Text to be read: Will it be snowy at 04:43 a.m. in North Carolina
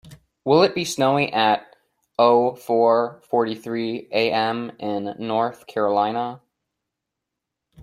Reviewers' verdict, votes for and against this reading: rejected, 0, 2